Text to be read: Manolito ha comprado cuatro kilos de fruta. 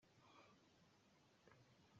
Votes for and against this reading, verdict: 0, 2, rejected